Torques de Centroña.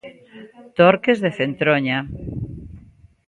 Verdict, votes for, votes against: accepted, 2, 1